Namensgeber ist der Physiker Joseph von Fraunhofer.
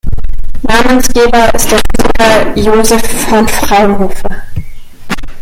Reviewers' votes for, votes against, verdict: 2, 0, accepted